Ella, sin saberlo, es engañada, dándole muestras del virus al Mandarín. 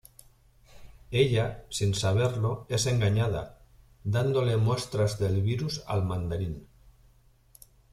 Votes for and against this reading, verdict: 2, 0, accepted